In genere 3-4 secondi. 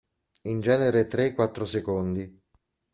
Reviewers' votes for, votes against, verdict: 0, 2, rejected